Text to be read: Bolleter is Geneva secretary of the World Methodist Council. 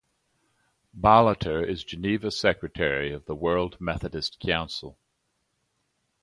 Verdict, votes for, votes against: accepted, 2, 0